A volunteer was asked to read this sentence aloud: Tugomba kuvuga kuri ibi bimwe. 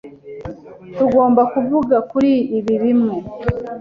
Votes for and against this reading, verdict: 2, 0, accepted